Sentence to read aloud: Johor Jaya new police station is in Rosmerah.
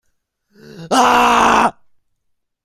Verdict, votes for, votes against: rejected, 0, 2